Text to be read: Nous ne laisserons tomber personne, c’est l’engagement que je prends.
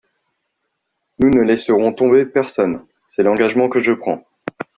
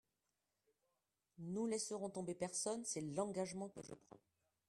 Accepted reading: first